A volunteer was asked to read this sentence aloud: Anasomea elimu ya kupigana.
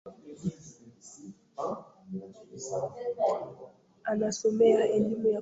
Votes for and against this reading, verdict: 0, 3, rejected